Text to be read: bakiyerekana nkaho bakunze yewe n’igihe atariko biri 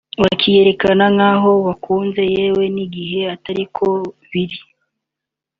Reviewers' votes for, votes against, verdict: 2, 0, accepted